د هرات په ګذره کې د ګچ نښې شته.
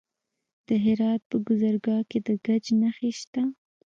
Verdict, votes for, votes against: rejected, 0, 2